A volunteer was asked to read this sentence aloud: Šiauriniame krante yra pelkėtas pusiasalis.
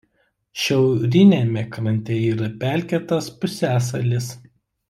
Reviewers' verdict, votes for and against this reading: rejected, 1, 2